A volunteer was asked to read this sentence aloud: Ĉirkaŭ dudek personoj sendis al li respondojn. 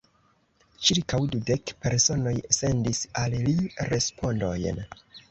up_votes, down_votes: 2, 0